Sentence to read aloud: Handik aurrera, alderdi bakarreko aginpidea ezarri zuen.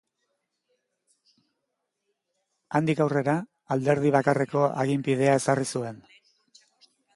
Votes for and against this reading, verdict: 2, 0, accepted